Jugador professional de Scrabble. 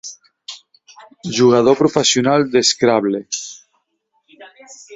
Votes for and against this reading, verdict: 2, 1, accepted